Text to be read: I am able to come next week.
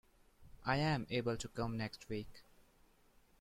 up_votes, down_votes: 2, 0